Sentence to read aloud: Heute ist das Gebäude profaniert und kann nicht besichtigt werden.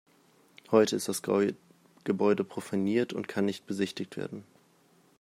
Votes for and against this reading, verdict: 2, 1, accepted